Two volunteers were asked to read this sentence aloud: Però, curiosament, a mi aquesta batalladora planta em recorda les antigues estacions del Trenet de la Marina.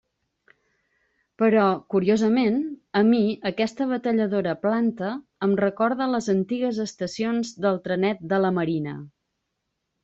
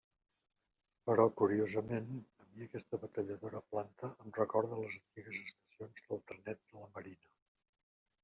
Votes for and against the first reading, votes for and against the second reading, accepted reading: 2, 0, 1, 2, first